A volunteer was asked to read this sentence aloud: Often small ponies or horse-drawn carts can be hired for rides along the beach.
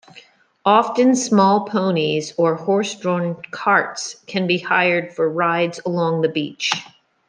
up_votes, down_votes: 2, 0